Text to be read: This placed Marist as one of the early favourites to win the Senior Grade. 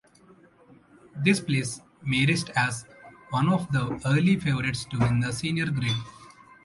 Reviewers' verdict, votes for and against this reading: accepted, 2, 0